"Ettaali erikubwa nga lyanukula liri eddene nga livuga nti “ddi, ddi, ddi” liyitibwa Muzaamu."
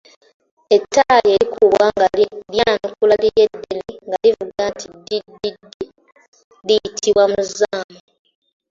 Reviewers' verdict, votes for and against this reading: accepted, 2, 1